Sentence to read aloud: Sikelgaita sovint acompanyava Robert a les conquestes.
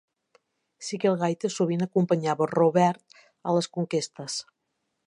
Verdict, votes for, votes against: accepted, 2, 0